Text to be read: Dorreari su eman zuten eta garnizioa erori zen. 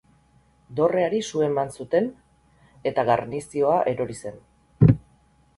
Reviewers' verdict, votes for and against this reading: rejected, 2, 2